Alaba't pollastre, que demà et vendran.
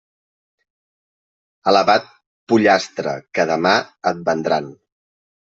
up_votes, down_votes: 2, 0